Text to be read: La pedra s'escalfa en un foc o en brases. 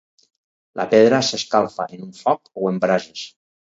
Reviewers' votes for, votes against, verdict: 8, 0, accepted